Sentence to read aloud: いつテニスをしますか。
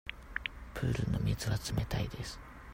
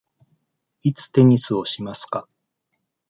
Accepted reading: second